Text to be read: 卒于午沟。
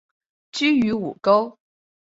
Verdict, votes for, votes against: rejected, 1, 4